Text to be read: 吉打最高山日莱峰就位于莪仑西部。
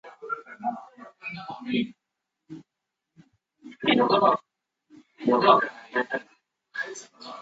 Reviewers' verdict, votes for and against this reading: rejected, 0, 2